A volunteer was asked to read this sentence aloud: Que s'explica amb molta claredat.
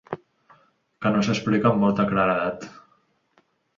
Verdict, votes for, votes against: rejected, 0, 3